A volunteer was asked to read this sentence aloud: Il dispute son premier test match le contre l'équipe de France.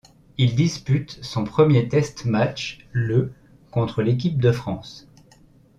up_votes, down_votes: 2, 0